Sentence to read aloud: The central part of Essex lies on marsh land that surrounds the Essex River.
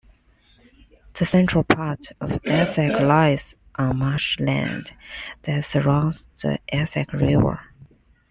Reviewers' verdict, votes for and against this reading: accepted, 2, 1